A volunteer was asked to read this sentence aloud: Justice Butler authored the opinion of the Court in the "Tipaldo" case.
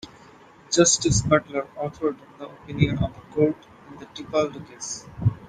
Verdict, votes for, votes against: accepted, 2, 0